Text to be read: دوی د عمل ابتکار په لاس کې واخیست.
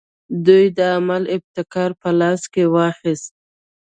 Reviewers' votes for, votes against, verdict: 2, 0, accepted